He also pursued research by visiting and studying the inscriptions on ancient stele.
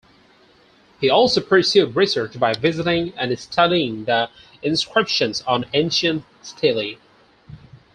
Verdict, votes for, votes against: rejected, 0, 4